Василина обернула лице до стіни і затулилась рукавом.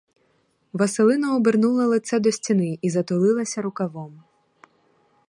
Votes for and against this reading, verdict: 2, 2, rejected